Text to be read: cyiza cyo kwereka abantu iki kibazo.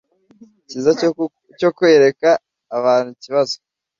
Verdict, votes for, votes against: rejected, 1, 2